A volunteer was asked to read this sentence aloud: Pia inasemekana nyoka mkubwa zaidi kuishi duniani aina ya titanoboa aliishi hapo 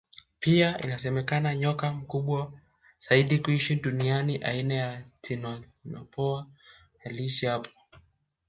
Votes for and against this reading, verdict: 2, 1, accepted